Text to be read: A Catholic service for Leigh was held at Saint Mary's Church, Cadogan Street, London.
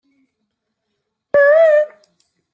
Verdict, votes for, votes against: rejected, 0, 2